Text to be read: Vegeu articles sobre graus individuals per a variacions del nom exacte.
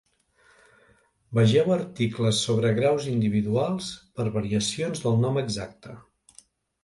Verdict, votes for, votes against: rejected, 0, 2